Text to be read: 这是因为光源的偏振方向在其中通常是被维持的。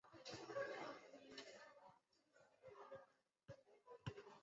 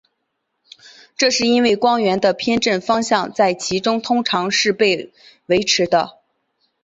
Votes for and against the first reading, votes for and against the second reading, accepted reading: 0, 3, 3, 0, second